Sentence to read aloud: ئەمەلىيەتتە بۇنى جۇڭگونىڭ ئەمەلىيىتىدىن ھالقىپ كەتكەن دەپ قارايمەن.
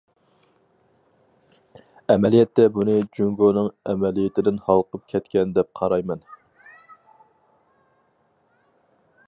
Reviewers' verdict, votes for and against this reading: accepted, 4, 0